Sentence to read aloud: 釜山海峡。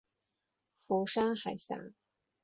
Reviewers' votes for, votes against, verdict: 8, 0, accepted